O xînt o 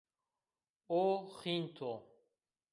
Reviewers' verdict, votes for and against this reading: rejected, 1, 2